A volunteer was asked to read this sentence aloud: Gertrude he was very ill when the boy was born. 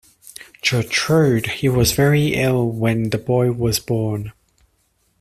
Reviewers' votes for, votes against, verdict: 1, 2, rejected